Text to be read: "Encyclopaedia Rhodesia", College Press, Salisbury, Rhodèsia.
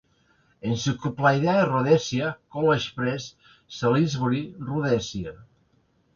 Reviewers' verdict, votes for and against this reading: rejected, 1, 2